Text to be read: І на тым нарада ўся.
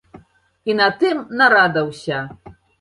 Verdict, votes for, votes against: accepted, 2, 0